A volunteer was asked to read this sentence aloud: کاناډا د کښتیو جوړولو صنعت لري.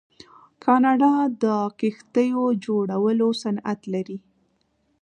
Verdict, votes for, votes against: accepted, 2, 0